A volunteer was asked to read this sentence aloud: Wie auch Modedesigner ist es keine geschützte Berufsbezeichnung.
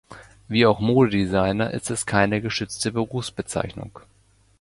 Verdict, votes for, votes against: accepted, 2, 1